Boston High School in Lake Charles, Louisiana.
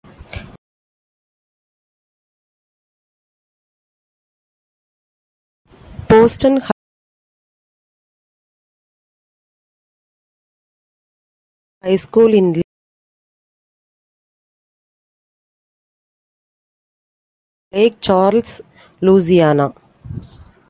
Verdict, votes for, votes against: rejected, 1, 2